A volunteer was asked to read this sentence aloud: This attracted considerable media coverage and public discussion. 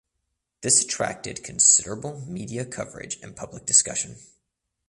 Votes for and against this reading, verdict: 2, 0, accepted